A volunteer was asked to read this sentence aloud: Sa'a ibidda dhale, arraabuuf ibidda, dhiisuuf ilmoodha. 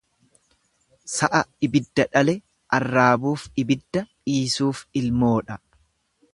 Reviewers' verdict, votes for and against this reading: accepted, 2, 0